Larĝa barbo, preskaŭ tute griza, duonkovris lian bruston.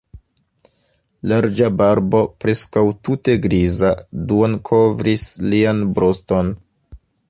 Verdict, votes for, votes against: accepted, 2, 0